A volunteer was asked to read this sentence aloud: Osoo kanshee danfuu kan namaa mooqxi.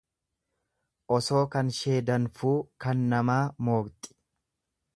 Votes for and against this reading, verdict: 2, 0, accepted